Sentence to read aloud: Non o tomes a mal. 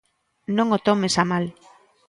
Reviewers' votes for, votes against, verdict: 2, 0, accepted